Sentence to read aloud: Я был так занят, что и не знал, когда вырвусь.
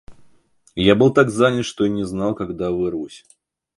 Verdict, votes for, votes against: accepted, 2, 0